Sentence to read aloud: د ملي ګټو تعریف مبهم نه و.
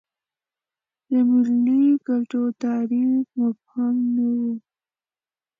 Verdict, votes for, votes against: accepted, 2, 0